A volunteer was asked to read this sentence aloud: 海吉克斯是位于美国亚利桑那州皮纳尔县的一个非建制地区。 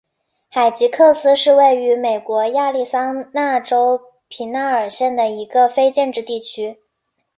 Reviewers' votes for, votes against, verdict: 2, 0, accepted